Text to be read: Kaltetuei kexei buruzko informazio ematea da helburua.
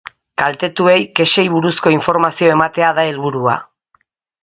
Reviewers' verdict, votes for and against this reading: accepted, 4, 0